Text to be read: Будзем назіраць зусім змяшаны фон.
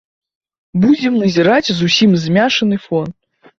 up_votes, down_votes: 0, 2